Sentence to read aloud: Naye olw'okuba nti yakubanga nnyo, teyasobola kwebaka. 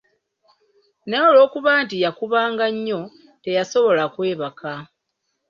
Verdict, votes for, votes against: accepted, 2, 0